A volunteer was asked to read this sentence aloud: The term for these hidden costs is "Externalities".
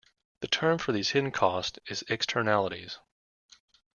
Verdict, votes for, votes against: accepted, 2, 0